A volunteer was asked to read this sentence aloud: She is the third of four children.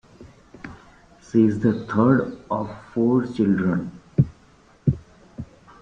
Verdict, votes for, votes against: rejected, 0, 2